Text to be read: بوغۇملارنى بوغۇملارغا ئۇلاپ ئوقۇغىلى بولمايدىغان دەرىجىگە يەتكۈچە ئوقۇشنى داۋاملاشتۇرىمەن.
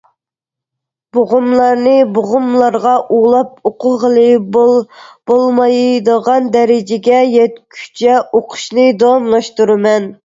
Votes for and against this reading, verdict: 0, 2, rejected